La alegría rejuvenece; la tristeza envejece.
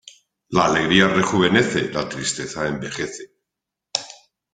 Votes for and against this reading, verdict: 2, 0, accepted